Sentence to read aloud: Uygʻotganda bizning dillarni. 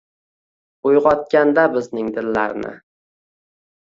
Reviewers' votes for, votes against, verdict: 2, 0, accepted